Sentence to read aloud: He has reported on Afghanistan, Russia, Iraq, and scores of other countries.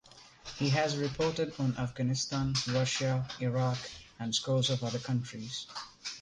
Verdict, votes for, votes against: rejected, 1, 2